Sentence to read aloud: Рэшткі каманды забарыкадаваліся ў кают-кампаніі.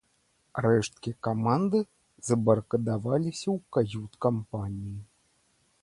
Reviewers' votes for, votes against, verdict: 2, 0, accepted